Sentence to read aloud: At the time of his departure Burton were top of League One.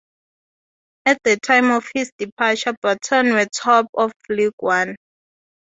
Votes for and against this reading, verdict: 4, 0, accepted